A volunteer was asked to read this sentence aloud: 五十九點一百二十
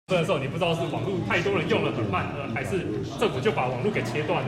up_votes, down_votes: 0, 2